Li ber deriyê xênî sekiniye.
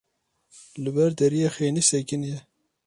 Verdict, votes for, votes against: accepted, 2, 0